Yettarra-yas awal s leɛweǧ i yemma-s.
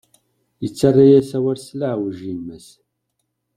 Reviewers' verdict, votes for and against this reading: accepted, 2, 0